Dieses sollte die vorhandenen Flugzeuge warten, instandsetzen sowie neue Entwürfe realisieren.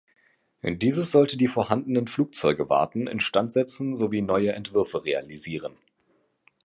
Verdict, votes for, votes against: rejected, 2, 3